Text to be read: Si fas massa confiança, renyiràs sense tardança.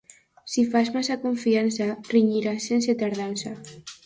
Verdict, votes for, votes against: accepted, 2, 0